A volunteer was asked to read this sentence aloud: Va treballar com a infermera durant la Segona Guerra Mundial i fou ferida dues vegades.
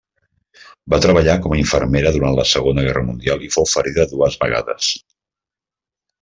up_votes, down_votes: 3, 0